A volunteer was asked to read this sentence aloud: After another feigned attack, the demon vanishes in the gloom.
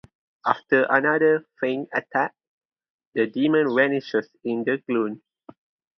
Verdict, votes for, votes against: accepted, 2, 0